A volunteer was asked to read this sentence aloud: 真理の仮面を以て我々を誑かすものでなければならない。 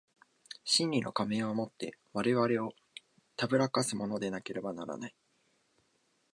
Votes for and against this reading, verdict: 2, 0, accepted